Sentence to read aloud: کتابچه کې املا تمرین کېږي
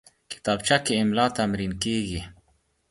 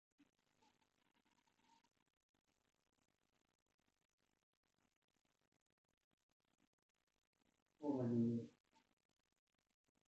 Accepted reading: first